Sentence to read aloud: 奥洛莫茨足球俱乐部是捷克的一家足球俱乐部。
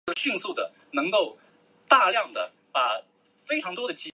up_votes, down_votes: 1, 3